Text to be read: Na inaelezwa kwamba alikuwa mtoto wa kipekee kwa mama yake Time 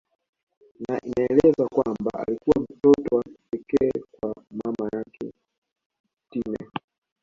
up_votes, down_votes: 1, 2